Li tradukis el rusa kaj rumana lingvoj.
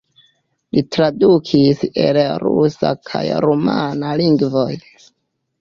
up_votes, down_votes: 0, 2